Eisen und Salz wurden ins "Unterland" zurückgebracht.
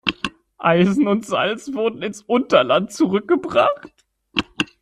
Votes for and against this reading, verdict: 1, 2, rejected